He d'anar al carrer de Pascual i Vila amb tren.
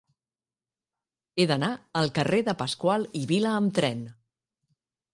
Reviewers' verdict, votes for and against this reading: accepted, 3, 0